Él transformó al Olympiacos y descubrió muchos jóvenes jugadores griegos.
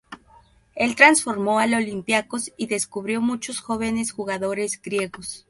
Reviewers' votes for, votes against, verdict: 2, 0, accepted